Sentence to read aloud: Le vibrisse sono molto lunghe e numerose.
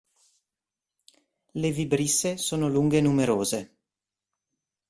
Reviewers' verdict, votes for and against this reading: rejected, 0, 2